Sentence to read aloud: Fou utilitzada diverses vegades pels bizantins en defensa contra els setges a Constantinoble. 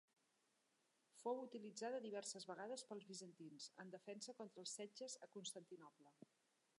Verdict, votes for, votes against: rejected, 0, 2